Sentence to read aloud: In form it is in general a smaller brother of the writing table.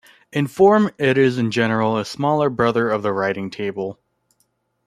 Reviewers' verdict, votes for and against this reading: accepted, 2, 0